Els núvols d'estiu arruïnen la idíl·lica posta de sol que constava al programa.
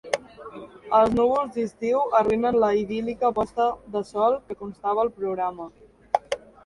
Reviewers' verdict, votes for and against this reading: rejected, 0, 2